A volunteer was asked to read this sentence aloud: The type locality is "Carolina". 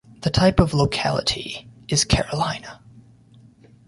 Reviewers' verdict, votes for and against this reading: rejected, 0, 2